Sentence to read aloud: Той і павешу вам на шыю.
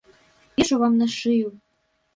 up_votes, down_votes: 1, 2